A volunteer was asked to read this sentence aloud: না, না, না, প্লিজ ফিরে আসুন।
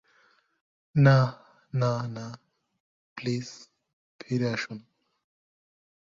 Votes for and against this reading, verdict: 2, 0, accepted